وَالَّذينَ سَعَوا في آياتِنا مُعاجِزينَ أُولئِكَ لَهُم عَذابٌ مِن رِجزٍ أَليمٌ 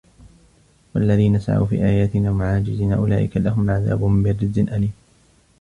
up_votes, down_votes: 0, 2